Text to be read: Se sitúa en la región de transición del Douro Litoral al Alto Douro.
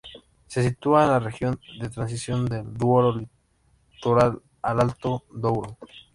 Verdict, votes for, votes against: rejected, 0, 2